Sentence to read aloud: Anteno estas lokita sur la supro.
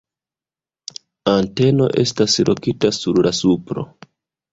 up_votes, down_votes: 2, 1